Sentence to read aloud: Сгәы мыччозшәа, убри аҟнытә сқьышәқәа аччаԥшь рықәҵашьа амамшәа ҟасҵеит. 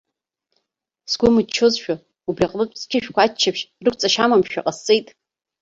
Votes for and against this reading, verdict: 2, 1, accepted